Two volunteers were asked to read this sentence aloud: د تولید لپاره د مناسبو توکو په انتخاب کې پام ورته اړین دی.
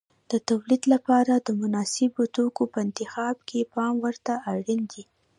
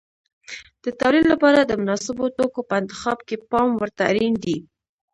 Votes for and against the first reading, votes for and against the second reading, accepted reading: 2, 3, 2, 1, second